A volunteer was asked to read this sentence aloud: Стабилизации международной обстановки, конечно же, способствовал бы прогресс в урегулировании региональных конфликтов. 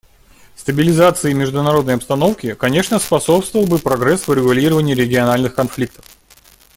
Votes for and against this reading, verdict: 1, 2, rejected